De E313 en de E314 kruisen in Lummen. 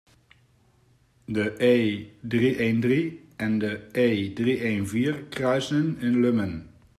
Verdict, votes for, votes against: rejected, 0, 2